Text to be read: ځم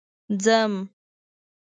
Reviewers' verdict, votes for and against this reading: accepted, 2, 0